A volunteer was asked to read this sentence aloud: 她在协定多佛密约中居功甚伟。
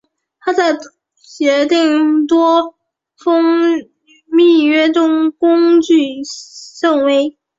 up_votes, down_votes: 0, 2